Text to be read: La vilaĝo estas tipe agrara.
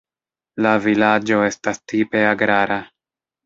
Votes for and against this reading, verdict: 0, 2, rejected